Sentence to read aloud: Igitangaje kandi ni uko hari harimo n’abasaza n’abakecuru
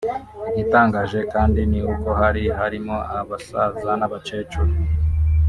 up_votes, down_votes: 2, 3